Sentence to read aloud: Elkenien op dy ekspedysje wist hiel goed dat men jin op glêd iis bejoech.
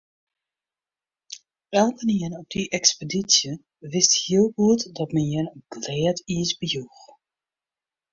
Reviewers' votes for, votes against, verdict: 0, 2, rejected